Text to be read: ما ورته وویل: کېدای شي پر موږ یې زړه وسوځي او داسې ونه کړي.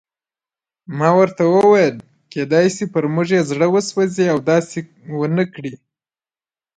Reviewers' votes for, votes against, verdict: 1, 2, rejected